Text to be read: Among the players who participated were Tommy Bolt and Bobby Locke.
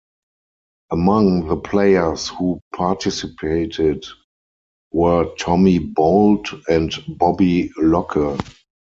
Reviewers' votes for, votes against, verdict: 4, 2, accepted